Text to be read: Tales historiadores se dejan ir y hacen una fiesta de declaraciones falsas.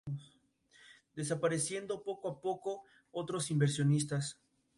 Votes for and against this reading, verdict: 0, 2, rejected